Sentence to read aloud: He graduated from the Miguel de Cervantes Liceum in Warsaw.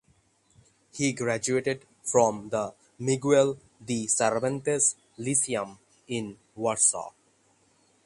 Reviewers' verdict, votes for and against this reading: accepted, 6, 3